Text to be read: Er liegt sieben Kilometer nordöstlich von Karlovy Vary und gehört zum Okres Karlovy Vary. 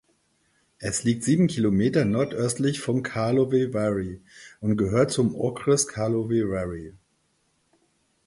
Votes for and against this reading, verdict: 0, 4, rejected